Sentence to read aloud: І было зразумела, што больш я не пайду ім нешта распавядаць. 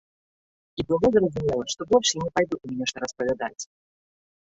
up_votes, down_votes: 1, 2